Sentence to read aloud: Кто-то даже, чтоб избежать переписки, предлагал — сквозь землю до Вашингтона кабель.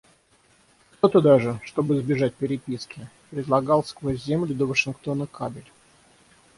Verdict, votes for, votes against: accepted, 6, 0